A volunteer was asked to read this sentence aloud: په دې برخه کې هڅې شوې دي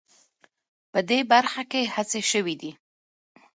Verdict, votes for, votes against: accepted, 2, 0